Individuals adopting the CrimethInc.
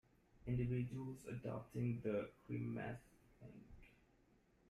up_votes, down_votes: 0, 2